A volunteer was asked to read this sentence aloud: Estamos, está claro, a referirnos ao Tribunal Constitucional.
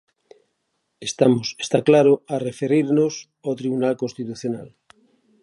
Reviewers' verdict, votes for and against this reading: rejected, 0, 2